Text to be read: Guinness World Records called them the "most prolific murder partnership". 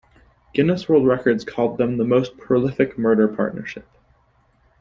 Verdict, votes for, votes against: accepted, 2, 0